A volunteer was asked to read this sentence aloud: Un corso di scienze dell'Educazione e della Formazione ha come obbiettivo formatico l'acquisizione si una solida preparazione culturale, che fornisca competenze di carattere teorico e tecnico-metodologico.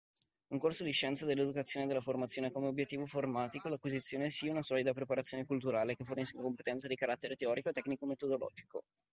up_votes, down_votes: 2, 0